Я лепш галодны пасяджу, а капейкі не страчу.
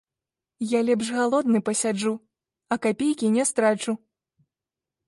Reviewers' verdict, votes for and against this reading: rejected, 1, 2